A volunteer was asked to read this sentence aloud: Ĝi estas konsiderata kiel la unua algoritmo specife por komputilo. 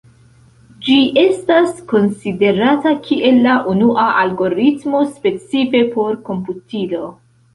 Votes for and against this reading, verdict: 2, 0, accepted